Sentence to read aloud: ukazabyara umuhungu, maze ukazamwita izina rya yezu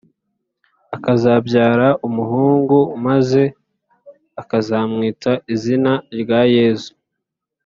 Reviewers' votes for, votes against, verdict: 1, 2, rejected